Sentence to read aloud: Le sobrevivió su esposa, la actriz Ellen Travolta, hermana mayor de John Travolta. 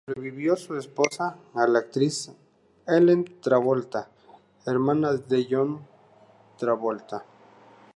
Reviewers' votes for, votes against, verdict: 2, 0, accepted